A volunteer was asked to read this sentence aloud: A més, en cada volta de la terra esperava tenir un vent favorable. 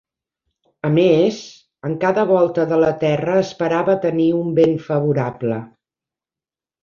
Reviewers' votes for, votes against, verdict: 3, 1, accepted